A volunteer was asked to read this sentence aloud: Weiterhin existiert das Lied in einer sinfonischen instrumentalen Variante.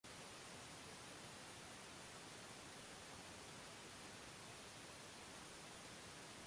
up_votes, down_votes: 0, 2